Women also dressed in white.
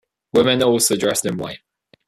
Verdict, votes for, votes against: accepted, 2, 1